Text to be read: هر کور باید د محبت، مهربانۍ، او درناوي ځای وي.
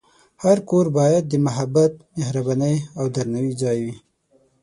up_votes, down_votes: 6, 0